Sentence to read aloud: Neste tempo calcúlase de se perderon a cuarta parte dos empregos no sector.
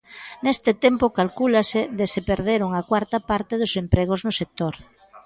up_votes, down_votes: 2, 0